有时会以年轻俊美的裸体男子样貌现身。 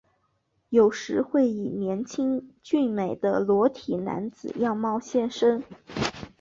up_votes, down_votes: 3, 0